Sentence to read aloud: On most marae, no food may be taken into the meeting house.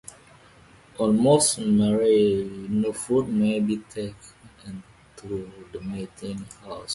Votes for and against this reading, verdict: 1, 3, rejected